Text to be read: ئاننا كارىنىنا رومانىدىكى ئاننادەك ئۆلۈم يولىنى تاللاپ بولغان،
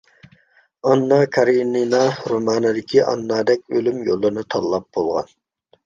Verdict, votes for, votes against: accepted, 2, 0